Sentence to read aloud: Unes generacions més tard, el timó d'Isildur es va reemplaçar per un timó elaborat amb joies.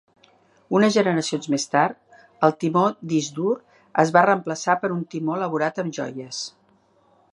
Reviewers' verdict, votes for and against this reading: rejected, 0, 3